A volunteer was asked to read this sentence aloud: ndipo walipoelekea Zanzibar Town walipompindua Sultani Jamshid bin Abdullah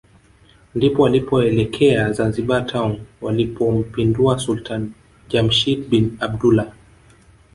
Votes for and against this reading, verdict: 3, 0, accepted